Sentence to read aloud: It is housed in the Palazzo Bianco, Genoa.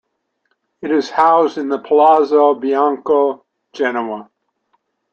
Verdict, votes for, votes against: accepted, 2, 0